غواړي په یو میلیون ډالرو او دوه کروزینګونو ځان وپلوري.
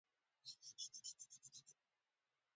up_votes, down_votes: 0, 2